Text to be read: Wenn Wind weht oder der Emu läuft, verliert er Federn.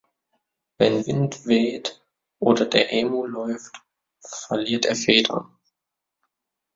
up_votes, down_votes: 2, 0